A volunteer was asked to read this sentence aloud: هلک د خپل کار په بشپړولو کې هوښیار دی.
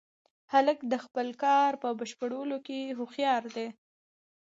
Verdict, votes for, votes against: accepted, 2, 0